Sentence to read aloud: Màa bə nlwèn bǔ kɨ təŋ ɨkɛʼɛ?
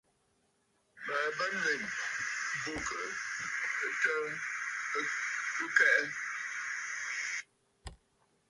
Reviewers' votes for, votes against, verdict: 1, 2, rejected